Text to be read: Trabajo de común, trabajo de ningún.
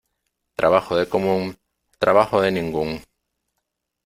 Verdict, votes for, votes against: accepted, 2, 1